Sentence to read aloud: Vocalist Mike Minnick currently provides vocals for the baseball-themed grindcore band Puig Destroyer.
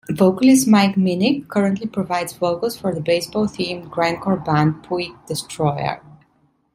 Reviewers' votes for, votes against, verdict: 2, 0, accepted